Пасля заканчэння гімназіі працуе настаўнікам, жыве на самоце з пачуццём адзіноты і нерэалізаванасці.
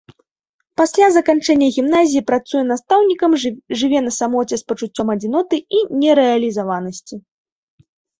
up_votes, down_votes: 0, 2